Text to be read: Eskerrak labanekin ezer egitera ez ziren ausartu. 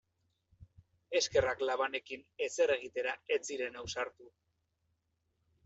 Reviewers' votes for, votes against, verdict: 2, 0, accepted